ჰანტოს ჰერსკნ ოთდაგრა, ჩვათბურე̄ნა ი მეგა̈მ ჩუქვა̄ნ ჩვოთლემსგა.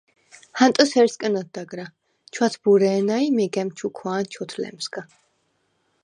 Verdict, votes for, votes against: accepted, 4, 0